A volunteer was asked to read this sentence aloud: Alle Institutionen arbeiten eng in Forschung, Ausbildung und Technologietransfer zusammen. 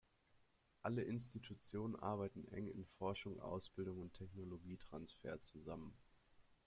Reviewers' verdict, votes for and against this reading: accepted, 2, 0